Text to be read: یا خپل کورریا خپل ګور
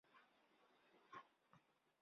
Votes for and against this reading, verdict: 0, 2, rejected